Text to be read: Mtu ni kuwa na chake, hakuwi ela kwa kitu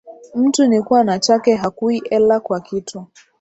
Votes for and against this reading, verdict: 3, 1, accepted